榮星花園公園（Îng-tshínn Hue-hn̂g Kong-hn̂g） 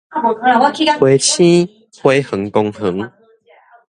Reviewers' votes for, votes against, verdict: 1, 2, rejected